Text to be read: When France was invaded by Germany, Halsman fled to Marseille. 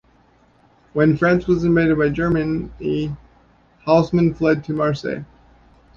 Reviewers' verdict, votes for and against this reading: rejected, 0, 3